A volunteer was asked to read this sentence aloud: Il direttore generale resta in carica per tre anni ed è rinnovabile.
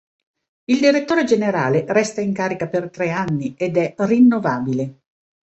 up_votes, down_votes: 2, 0